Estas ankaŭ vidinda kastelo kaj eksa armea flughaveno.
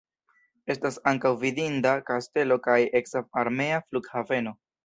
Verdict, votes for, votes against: rejected, 1, 2